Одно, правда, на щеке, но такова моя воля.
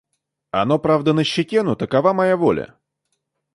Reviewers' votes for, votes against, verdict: 0, 2, rejected